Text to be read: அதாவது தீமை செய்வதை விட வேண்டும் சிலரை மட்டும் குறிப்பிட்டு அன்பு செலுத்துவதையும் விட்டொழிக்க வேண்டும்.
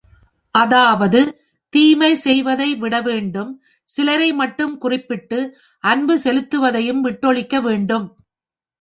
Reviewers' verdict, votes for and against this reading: accepted, 3, 0